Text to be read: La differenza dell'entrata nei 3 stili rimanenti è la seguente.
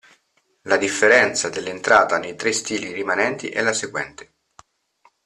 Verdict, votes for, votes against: rejected, 0, 2